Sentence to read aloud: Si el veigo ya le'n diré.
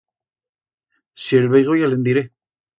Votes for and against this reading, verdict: 2, 0, accepted